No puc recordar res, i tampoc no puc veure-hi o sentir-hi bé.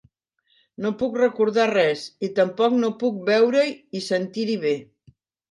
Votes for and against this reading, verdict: 0, 2, rejected